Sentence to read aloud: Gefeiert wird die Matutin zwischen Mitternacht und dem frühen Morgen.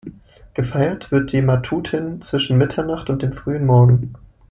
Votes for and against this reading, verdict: 2, 0, accepted